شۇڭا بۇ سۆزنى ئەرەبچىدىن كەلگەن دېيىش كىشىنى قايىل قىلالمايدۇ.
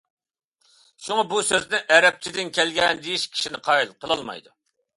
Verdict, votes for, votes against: accepted, 2, 0